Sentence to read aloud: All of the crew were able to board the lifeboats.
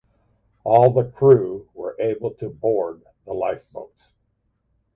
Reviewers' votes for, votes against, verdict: 0, 2, rejected